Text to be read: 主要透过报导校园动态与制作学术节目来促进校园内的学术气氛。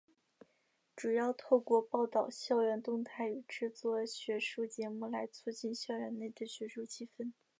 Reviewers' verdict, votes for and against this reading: accepted, 2, 0